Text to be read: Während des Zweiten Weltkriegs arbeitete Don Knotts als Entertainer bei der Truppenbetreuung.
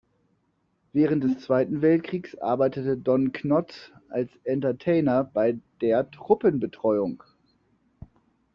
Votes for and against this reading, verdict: 0, 2, rejected